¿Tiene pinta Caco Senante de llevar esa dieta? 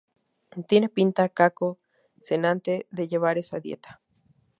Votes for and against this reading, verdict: 2, 0, accepted